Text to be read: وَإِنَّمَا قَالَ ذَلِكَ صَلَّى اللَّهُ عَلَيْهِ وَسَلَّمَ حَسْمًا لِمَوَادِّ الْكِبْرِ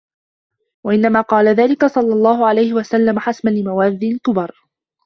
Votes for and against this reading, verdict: 1, 2, rejected